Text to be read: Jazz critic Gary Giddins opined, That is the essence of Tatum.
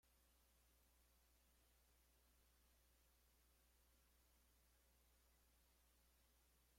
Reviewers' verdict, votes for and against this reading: rejected, 1, 2